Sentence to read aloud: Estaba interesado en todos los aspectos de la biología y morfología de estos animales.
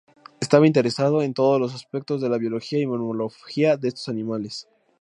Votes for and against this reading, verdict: 0, 2, rejected